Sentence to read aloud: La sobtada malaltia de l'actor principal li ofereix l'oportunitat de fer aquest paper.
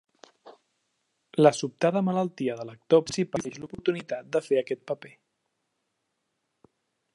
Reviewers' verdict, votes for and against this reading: rejected, 1, 2